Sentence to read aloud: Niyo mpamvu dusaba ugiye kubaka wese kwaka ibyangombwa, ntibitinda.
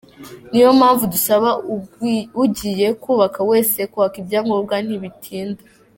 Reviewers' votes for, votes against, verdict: 0, 2, rejected